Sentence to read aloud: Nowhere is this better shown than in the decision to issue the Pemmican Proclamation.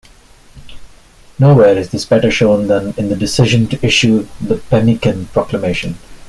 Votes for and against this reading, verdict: 2, 0, accepted